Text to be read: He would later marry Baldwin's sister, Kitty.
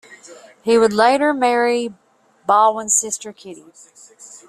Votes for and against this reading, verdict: 2, 0, accepted